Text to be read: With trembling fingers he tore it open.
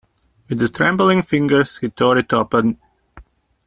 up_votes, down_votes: 1, 2